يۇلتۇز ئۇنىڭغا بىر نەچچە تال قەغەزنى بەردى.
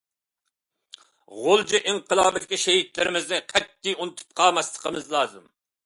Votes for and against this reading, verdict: 0, 2, rejected